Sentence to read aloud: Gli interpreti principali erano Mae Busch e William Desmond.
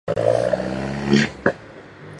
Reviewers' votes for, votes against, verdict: 0, 2, rejected